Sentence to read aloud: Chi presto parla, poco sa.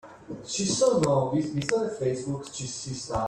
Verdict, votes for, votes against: rejected, 0, 2